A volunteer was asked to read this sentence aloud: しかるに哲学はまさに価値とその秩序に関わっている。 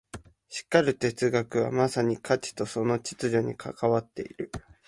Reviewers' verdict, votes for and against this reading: rejected, 1, 2